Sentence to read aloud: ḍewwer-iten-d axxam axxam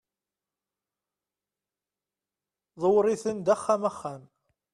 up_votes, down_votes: 1, 2